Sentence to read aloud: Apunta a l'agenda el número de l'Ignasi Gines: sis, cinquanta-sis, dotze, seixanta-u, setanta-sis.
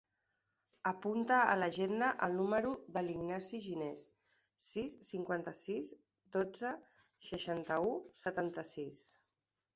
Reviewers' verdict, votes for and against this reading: accepted, 3, 0